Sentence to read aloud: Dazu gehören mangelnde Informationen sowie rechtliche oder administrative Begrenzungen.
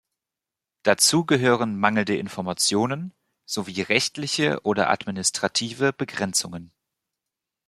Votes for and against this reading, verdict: 2, 0, accepted